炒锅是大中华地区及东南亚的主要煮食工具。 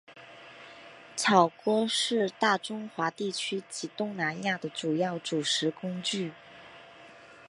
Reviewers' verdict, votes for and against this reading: rejected, 1, 2